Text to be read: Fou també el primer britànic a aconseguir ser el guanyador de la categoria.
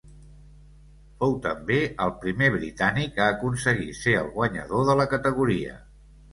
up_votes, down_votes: 3, 0